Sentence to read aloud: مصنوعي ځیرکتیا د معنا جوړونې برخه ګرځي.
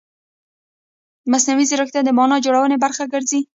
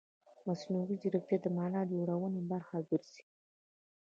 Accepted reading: second